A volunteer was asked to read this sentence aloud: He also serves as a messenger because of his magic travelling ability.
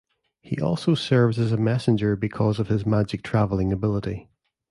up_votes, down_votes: 2, 0